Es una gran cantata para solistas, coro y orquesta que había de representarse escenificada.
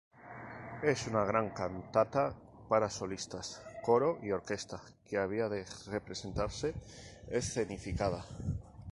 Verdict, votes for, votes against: rejected, 0, 2